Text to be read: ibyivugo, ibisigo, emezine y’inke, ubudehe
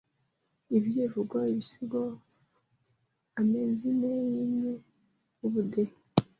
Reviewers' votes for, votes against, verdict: 0, 2, rejected